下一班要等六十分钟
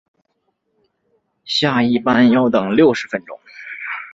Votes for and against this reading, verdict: 6, 0, accepted